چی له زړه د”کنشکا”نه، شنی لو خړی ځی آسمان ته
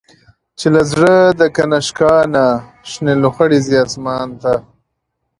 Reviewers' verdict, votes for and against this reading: accepted, 2, 0